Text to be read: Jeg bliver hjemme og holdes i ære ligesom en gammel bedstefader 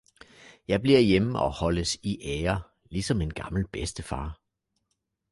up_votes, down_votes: 1, 2